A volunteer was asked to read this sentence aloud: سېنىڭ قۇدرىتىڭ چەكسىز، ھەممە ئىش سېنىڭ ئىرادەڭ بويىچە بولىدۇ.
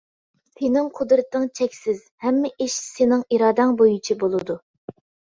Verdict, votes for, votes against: accepted, 2, 0